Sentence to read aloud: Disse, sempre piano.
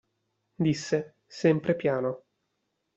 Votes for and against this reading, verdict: 2, 0, accepted